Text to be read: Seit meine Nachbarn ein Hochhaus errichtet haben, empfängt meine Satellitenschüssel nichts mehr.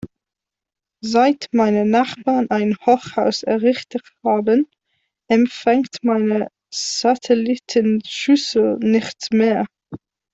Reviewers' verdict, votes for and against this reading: rejected, 1, 2